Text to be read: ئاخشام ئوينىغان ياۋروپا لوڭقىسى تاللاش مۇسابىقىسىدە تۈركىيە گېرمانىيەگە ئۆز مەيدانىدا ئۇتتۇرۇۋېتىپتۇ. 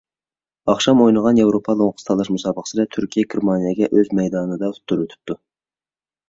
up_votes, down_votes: 2, 0